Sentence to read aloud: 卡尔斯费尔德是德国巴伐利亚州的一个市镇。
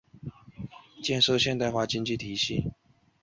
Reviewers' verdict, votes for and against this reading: rejected, 0, 2